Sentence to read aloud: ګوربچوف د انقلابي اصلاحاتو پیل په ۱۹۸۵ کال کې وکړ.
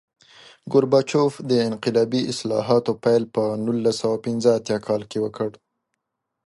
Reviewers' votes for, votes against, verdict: 0, 2, rejected